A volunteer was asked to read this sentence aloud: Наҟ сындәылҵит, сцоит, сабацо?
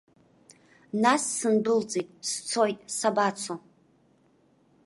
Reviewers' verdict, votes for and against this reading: rejected, 1, 2